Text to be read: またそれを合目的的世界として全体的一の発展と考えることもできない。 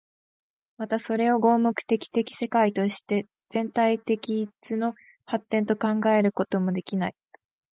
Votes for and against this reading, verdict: 2, 0, accepted